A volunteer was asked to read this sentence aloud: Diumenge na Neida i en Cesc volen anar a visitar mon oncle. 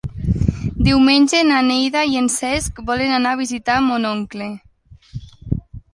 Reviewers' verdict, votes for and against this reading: accepted, 2, 0